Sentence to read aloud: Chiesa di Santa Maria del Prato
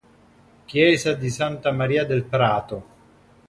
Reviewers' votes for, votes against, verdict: 2, 0, accepted